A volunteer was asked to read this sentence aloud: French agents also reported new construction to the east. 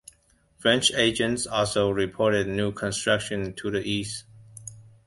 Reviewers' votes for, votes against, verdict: 2, 0, accepted